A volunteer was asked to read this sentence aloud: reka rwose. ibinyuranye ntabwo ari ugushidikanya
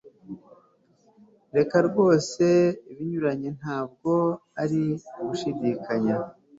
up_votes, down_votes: 2, 0